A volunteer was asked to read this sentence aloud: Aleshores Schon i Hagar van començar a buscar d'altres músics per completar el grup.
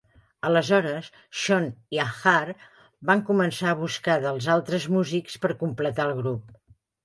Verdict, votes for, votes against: rejected, 1, 2